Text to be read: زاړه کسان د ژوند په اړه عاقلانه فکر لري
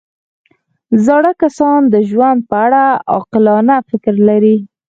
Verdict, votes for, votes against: rejected, 2, 4